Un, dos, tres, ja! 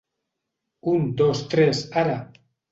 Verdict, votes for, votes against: rejected, 0, 2